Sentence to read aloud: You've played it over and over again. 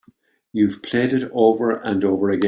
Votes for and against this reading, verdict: 1, 2, rejected